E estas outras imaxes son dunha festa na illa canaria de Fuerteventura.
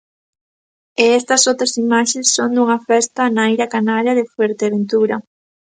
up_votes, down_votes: 3, 1